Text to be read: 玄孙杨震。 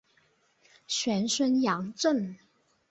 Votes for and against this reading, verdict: 3, 0, accepted